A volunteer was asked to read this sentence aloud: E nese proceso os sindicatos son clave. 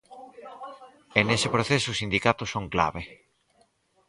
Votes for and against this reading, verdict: 4, 0, accepted